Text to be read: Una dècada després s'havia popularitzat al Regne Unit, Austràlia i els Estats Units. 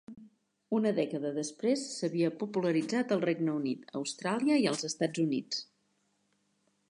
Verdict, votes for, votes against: accepted, 3, 0